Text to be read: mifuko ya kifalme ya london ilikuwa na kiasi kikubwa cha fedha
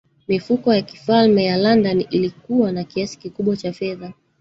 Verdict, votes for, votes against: rejected, 1, 2